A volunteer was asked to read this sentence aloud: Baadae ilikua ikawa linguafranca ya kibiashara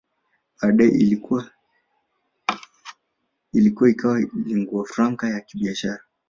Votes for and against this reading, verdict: 0, 2, rejected